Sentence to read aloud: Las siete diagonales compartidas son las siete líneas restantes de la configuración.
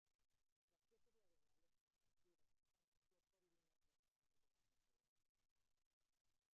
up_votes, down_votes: 0, 2